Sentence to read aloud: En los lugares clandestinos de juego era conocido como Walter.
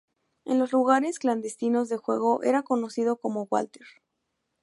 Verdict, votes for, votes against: accepted, 4, 0